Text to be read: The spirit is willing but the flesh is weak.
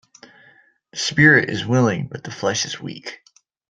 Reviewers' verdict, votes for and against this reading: accepted, 2, 0